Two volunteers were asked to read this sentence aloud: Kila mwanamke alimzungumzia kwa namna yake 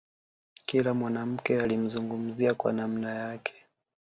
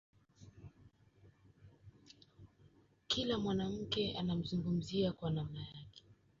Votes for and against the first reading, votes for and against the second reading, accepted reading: 2, 1, 0, 2, first